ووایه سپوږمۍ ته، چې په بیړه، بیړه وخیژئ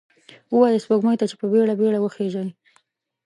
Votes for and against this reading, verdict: 2, 0, accepted